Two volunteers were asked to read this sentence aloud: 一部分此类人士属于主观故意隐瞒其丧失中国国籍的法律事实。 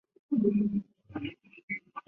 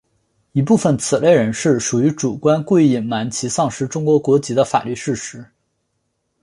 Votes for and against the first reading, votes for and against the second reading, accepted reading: 0, 2, 2, 0, second